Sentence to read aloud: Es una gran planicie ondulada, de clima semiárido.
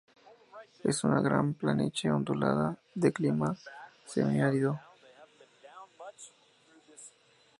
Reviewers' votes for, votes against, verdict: 2, 0, accepted